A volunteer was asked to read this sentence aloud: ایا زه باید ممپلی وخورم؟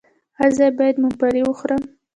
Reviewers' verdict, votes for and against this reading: rejected, 0, 2